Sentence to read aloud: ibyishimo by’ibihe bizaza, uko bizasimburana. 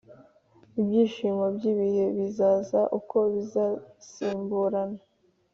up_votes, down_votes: 3, 0